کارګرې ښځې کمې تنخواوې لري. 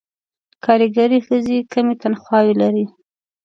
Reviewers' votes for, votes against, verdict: 2, 0, accepted